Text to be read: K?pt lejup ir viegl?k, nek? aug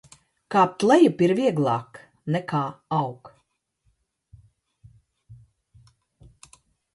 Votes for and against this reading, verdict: 0, 2, rejected